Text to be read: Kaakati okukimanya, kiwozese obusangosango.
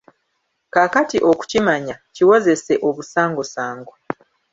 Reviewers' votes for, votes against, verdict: 0, 2, rejected